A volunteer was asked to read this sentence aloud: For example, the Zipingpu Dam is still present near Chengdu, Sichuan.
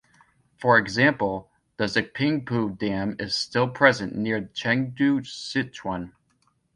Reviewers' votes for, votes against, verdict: 1, 2, rejected